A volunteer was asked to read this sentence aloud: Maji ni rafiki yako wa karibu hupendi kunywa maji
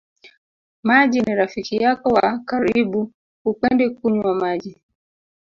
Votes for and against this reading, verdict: 1, 2, rejected